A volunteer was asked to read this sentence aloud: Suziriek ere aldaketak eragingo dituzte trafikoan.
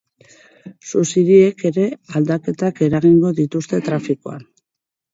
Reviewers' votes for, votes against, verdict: 0, 2, rejected